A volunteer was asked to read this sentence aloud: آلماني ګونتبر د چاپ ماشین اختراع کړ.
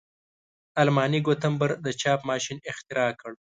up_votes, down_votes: 2, 0